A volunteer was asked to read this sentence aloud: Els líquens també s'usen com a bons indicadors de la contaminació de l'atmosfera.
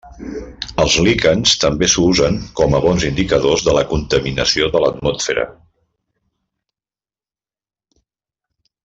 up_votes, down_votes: 1, 2